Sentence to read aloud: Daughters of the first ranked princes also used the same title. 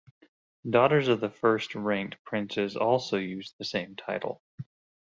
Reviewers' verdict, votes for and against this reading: accepted, 2, 0